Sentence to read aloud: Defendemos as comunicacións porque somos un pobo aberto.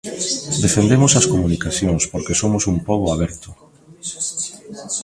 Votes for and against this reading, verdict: 2, 0, accepted